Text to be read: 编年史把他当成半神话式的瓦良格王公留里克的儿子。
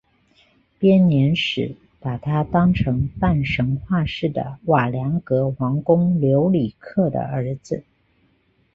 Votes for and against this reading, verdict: 2, 0, accepted